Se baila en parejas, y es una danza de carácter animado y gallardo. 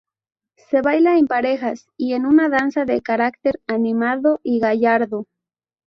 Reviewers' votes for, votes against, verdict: 0, 2, rejected